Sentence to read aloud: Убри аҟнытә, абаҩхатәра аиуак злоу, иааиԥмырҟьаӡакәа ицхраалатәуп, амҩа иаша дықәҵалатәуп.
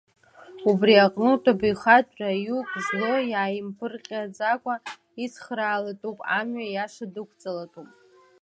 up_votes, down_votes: 1, 2